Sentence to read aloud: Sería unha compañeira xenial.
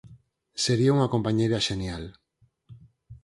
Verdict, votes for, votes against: accepted, 4, 0